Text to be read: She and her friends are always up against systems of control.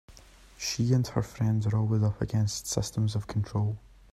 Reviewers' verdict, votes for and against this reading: accepted, 2, 0